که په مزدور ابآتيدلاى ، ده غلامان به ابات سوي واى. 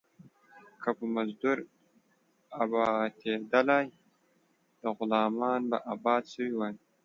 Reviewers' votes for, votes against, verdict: 1, 2, rejected